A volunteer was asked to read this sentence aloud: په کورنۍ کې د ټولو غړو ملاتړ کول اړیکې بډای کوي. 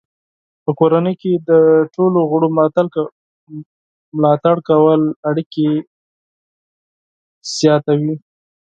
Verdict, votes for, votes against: rejected, 2, 4